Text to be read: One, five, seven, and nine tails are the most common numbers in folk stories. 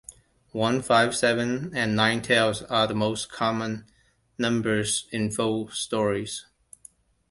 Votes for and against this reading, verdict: 2, 0, accepted